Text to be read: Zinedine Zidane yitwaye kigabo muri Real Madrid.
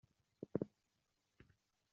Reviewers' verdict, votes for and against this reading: rejected, 0, 2